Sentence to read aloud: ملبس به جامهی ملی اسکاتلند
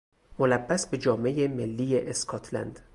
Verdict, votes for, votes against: rejected, 2, 2